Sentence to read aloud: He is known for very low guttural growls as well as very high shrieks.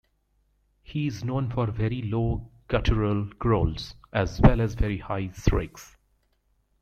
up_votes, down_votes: 1, 3